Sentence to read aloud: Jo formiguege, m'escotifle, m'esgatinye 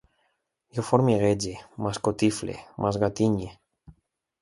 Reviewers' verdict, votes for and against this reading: accepted, 2, 0